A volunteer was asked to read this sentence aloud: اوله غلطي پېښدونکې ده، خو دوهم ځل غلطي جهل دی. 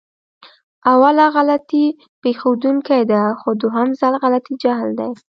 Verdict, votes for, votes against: accepted, 2, 0